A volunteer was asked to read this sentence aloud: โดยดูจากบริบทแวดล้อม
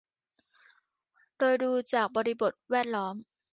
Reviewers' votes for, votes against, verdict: 3, 0, accepted